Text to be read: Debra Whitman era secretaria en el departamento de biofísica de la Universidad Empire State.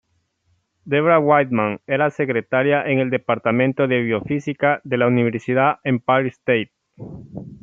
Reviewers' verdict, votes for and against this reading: rejected, 1, 2